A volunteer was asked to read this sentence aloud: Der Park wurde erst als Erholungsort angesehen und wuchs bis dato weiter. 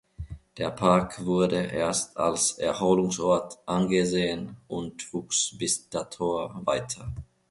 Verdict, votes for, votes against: rejected, 1, 2